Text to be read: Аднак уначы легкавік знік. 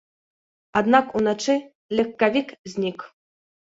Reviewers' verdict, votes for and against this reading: accepted, 2, 0